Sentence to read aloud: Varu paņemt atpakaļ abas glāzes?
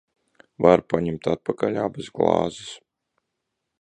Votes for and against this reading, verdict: 2, 0, accepted